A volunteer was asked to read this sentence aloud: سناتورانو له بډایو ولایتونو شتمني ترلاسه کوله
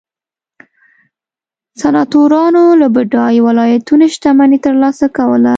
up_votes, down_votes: 2, 0